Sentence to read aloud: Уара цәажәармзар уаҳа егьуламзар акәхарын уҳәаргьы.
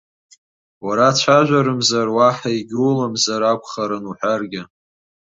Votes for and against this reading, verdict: 2, 0, accepted